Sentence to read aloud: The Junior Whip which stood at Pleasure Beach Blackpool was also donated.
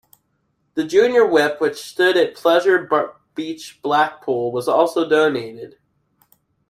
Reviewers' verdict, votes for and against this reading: rejected, 1, 2